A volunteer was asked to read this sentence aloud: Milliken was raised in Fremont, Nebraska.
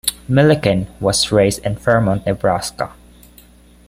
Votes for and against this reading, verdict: 3, 0, accepted